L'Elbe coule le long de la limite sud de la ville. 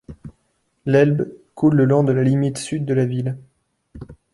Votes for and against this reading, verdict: 2, 0, accepted